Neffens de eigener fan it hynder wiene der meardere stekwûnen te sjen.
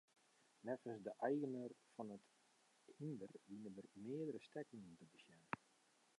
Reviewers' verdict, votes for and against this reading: rejected, 0, 2